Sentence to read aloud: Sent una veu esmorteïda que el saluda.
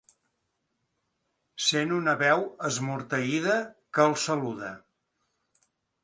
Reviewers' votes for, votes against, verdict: 2, 0, accepted